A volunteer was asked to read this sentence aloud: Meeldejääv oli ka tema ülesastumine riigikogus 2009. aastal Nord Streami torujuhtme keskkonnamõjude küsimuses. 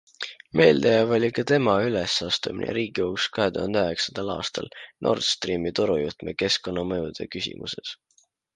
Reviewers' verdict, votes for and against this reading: rejected, 0, 2